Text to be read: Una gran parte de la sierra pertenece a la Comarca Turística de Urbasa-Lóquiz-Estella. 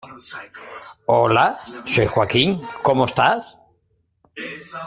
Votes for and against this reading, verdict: 0, 2, rejected